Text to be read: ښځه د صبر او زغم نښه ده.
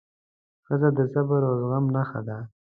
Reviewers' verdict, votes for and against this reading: accepted, 2, 0